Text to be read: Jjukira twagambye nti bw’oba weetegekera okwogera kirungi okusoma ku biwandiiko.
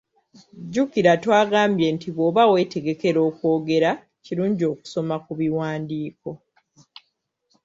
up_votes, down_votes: 2, 0